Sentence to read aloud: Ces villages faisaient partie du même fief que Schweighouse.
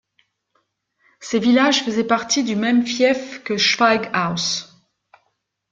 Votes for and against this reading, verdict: 2, 0, accepted